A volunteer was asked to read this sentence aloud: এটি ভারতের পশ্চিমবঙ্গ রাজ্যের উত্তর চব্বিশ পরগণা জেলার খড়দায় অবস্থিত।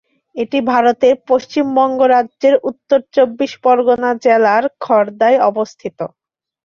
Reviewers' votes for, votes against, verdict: 5, 0, accepted